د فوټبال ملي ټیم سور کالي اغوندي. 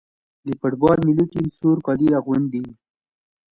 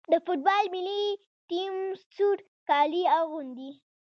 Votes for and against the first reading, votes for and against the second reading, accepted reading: 2, 0, 1, 2, first